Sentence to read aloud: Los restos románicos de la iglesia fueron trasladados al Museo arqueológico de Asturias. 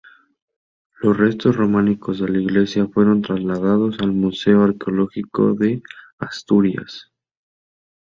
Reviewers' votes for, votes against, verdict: 2, 0, accepted